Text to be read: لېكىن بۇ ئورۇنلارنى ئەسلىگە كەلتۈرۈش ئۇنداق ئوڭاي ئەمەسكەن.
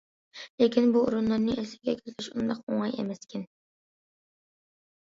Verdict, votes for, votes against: accepted, 2, 1